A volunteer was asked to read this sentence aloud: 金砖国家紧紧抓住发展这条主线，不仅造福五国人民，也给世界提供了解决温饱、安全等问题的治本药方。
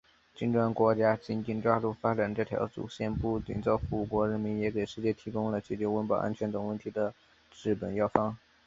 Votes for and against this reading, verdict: 2, 1, accepted